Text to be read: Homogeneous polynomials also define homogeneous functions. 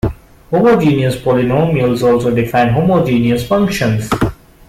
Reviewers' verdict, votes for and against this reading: accepted, 2, 0